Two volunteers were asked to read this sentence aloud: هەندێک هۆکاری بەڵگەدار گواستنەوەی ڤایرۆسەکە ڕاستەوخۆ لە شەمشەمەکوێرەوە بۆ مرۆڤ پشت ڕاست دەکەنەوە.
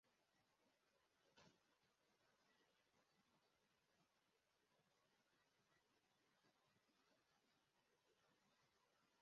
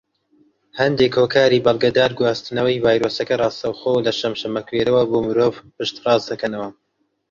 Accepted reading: second